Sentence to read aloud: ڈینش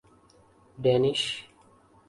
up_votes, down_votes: 2, 0